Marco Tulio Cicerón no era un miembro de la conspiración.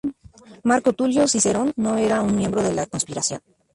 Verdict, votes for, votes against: accepted, 2, 0